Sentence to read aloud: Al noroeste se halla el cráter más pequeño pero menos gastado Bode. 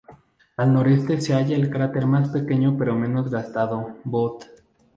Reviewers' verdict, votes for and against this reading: accepted, 2, 0